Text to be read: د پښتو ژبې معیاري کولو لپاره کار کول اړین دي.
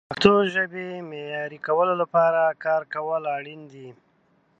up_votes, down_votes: 3, 1